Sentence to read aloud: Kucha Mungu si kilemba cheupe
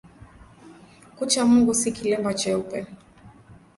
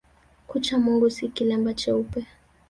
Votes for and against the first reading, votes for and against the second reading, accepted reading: 2, 0, 1, 2, first